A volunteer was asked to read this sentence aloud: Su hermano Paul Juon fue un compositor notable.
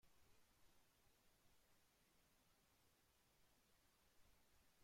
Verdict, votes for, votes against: rejected, 0, 2